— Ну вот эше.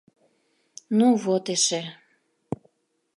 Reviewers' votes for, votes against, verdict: 2, 0, accepted